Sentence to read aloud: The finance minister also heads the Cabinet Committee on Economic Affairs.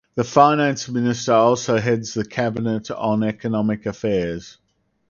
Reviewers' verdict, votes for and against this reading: rejected, 2, 4